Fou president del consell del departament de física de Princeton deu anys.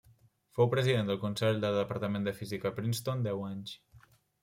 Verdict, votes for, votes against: rejected, 1, 2